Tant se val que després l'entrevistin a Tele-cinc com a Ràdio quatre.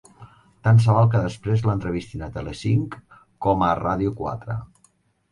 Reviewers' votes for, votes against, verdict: 2, 0, accepted